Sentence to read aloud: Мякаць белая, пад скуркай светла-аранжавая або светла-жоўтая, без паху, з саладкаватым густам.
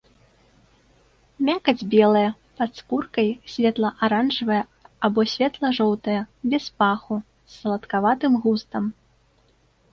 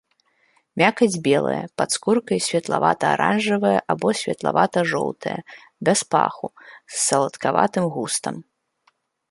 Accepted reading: first